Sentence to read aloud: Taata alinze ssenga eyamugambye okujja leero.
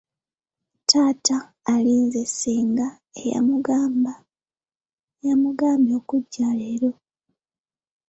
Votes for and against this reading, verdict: 0, 2, rejected